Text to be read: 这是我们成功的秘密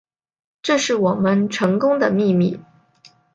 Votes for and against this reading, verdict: 3, 0, accepted